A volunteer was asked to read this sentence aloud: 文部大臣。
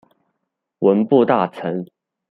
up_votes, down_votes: 2, 0